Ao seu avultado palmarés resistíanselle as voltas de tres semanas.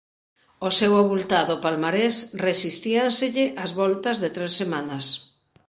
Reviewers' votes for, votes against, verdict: 2, 0, accepted